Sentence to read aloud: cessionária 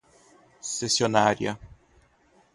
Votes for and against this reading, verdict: 0, 2, rejected